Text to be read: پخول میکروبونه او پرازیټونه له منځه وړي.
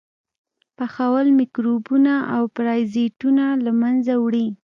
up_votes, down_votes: 1, 2